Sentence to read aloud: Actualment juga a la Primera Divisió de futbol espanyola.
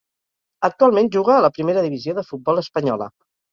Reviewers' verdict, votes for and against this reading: rejected, 2, 2